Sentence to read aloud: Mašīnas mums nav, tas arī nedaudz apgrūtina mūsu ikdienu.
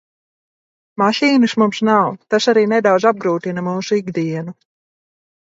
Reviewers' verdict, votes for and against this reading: accepted, 2, 0